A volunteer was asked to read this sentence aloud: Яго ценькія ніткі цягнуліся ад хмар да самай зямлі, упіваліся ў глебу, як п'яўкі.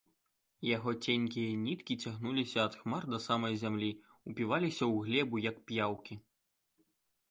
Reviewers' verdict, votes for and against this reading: accepted, 2, 0